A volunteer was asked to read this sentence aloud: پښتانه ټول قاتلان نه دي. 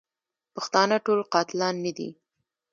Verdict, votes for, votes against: rejected, 1, 2